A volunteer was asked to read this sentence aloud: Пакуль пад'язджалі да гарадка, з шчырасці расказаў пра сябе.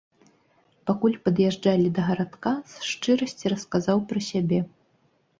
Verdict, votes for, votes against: accepted, 2, 0